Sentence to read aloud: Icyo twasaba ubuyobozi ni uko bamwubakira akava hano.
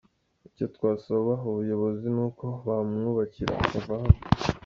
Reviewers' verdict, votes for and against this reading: rejected, 1, 2